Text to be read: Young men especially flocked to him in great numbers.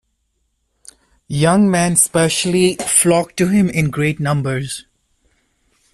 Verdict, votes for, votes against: rejected, 1, 2